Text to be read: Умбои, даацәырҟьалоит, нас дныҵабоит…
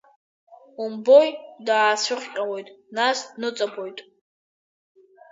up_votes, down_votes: 3, 0